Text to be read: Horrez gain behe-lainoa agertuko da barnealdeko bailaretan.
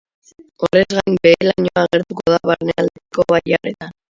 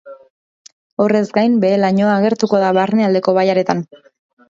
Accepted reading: second